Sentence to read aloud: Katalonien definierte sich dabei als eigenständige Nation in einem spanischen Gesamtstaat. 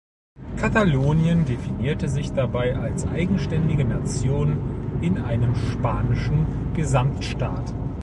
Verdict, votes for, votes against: accepted, 2, 0